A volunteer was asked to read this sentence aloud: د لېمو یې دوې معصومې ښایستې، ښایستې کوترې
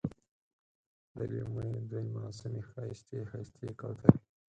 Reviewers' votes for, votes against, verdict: 0, 4, rejected